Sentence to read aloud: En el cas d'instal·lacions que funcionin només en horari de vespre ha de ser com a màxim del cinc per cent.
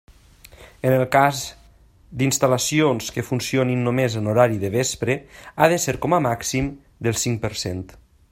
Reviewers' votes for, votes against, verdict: 0, 2, rejected